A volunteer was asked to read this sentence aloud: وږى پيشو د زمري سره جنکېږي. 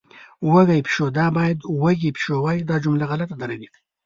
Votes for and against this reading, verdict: 1, 2, rejected